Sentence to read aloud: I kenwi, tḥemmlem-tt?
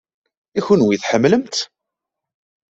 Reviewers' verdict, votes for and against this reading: accepted, 2, 0